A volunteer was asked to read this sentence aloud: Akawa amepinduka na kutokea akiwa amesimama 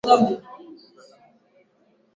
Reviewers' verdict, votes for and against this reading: rejected, 0, 2